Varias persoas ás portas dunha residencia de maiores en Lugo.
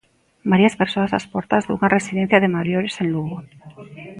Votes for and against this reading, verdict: 1, 2, rejected